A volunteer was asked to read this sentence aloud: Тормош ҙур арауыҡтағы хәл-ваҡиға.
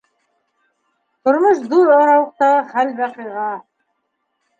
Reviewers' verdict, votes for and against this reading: rejected, 0, 2